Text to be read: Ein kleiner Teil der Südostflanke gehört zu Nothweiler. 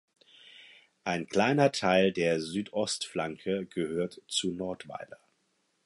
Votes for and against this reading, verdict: 2, 4, rejected